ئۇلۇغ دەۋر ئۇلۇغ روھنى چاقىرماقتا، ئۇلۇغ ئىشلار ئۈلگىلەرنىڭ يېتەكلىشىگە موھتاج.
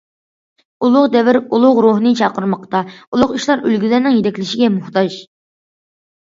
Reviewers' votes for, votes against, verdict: 2, 0, accepted